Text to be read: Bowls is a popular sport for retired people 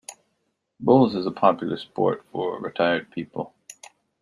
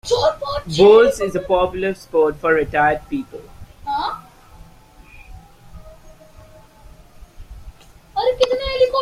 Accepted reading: first